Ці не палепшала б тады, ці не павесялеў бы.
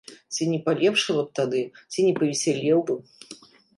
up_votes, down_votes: 2, 0